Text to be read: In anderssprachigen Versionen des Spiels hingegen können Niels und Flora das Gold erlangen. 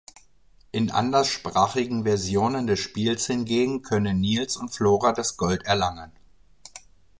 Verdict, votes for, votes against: accepted, 2, 0